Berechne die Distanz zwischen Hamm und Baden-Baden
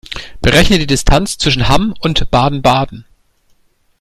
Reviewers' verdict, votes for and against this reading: accepted, 2, 0